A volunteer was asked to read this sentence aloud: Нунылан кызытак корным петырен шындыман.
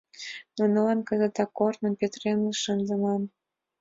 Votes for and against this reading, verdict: 2, 1, accepted